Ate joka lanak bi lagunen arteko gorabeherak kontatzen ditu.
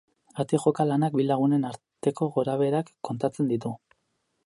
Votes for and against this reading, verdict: 6, 0, accepted